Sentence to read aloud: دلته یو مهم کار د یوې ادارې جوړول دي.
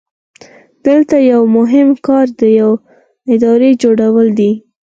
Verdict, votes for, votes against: accepted, 4, 2